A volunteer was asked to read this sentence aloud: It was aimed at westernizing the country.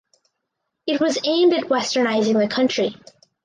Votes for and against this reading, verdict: 4, 0, accepted